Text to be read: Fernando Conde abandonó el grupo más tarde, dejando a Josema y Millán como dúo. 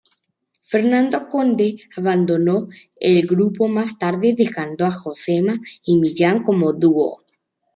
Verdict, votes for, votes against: accepted, 2, 0